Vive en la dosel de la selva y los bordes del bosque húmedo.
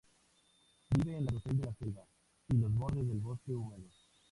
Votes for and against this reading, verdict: 0, 2, rejected